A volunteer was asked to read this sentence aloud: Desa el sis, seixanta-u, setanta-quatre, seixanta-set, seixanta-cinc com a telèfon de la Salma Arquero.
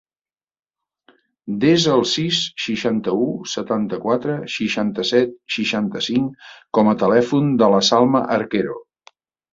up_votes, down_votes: 3, 0